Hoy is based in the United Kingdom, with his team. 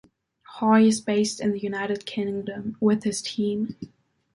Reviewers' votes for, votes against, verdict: 2, 1, accepted